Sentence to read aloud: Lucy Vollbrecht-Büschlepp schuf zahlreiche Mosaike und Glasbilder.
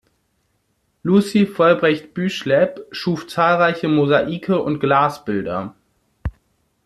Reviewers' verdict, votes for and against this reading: accepted, 2, 0